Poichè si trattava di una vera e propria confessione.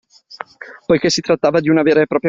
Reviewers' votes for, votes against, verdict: 0, 2, rejected